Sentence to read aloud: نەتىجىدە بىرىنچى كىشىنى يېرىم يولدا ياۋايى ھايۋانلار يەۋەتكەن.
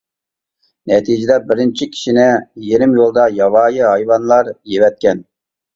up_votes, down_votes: 4, 0